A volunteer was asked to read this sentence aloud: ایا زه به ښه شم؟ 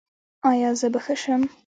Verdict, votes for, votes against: accepted, 2, 1